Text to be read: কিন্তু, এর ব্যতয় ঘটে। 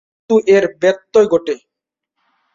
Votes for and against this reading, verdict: 2, 6, rejected